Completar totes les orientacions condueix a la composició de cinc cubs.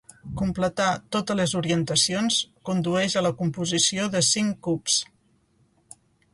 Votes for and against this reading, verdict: 2, 0, accepted